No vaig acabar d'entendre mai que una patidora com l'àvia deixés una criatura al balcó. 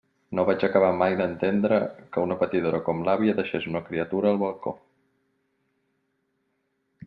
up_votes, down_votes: 1, 2